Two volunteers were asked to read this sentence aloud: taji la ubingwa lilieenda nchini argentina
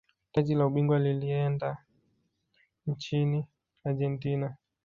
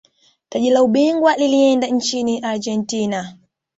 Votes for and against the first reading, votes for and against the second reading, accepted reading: 1, 2, 3, 1, second